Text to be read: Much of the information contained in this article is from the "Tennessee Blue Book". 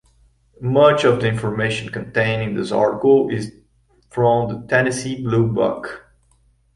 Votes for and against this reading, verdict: 2, 1, accepted